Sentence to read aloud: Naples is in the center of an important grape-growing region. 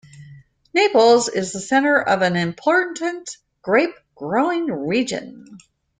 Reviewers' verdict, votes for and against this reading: accepted, 2, 1